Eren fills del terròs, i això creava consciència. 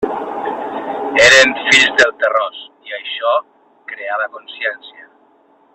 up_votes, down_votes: 1, 2